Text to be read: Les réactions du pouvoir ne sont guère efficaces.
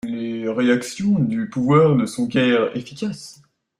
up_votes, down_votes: 2, 1